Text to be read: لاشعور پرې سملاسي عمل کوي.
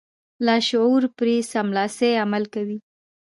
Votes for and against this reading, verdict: 2, 0, accepted